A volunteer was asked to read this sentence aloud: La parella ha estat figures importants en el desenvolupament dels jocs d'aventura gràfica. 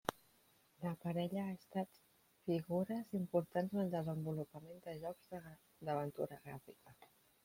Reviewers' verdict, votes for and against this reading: rejected, 0, 2